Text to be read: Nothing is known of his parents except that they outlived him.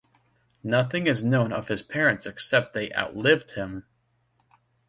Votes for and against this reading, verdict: 1, 2, rejected